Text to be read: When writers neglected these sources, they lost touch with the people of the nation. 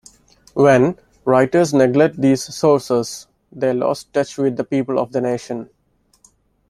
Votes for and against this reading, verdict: 0, 2, rejected